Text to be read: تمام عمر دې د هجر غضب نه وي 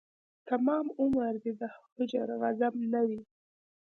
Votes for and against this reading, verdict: 2, 0, accepted